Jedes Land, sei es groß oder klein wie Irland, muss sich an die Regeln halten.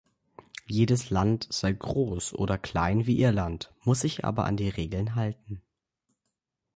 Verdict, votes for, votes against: rejected, 0, 2